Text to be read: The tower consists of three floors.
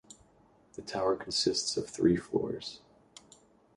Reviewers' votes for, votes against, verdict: 2, 0, accepted